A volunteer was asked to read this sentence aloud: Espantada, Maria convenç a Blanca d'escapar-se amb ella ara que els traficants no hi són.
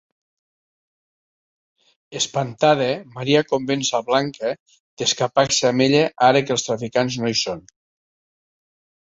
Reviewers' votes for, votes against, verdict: 2, 0, accepted